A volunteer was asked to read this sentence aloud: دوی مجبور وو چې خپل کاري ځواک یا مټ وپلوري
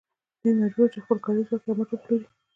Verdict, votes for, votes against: rejected, 0, 2